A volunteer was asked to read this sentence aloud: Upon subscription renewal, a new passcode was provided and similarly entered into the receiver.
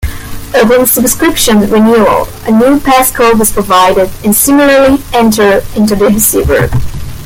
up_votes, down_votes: 1, 2